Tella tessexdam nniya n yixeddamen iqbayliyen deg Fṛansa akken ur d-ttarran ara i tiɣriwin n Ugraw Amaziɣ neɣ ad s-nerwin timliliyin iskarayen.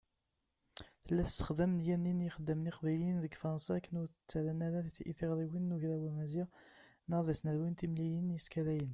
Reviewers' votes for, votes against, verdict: 1, 2, rejected